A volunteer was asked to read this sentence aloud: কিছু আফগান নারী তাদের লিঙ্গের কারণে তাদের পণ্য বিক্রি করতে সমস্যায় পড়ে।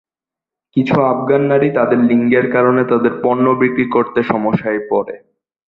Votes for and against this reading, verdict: 2, 2, rejected